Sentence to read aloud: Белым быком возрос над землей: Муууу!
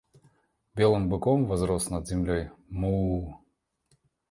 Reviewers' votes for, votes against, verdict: 2, 0, accepted